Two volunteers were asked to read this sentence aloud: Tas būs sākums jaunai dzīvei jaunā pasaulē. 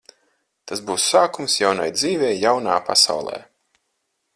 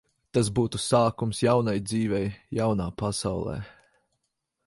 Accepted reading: first